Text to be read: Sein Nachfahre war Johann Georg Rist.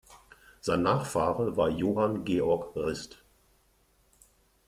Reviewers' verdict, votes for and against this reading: accepted, 2, 0